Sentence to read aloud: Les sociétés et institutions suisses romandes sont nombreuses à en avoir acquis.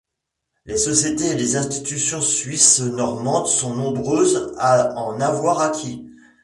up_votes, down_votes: 0, 2